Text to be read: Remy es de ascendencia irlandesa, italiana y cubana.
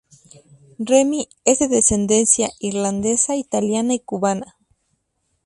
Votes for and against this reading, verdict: 0, 2, rejected